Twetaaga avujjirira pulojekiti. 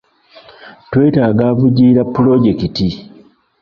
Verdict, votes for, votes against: accepted, 2, 1